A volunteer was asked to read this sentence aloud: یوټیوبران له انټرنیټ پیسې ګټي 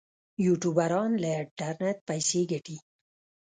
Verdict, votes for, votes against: rejected, 1, 2